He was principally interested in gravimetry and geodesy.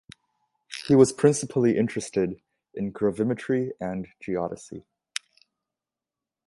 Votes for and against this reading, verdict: 2, 0, accepted